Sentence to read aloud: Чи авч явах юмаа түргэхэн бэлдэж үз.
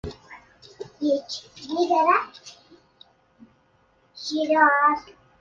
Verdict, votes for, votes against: rejected, 0, 2